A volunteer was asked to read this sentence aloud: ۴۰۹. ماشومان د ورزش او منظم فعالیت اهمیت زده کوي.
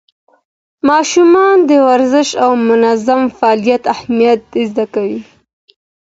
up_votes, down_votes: 0, 2